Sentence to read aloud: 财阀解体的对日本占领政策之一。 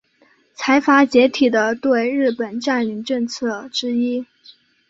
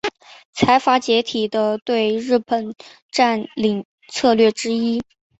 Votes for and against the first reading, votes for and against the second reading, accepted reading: 2, 0, 1, 3, first